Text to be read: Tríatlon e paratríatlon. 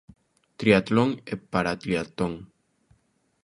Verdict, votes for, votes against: rejected, 0, 2